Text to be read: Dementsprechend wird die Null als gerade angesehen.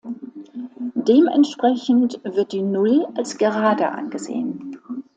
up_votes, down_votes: 2, 1